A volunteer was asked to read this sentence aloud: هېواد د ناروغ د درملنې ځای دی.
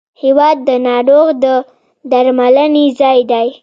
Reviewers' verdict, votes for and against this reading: accepted, 2, 0